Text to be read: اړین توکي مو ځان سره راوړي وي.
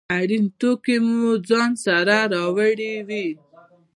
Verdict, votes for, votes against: accepted, 2, 1